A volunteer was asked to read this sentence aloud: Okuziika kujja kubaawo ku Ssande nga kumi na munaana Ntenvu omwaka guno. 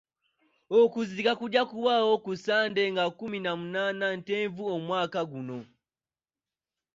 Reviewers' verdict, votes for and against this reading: accepted, 2, 0